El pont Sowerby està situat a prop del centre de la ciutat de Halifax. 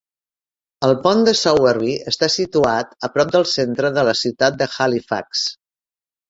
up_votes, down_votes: 1, 2